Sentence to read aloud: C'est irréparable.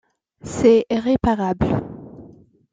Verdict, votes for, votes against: accepted, 2, 0